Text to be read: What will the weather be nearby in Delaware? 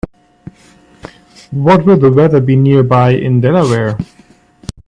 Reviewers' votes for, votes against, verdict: 1, 2, rejected